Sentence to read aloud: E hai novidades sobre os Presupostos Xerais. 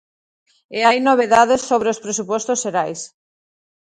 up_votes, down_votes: 0, 2